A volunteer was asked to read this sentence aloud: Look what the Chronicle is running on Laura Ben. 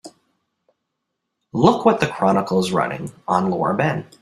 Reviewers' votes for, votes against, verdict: 4, 0, accepted